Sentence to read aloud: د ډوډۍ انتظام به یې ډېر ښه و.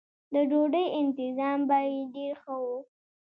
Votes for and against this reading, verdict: 2, 0, accepted